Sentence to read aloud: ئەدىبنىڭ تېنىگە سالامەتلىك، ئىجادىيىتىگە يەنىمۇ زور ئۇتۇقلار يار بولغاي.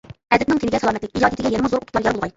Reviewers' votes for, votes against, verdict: 1, 2, rejected